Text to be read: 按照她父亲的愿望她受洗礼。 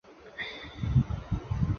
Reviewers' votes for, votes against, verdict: 4, 3, accepted